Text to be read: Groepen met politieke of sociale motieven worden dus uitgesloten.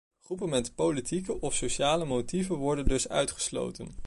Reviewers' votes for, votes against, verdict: 2, 0, accepted